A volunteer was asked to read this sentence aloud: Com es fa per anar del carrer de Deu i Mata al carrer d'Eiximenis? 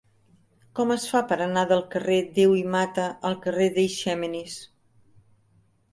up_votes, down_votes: 0, 2